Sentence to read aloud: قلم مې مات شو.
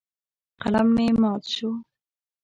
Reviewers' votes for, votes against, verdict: 2, 0, accepted